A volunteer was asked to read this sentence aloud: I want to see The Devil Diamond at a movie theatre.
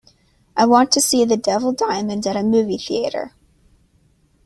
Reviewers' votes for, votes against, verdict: 2, 0, accepted